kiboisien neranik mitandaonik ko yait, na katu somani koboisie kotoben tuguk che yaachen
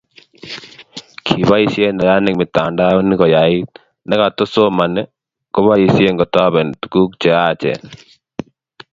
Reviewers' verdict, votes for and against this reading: accepted, 2, 0